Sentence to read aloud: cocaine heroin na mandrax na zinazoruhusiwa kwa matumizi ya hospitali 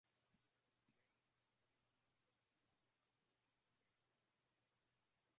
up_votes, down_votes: 0, 9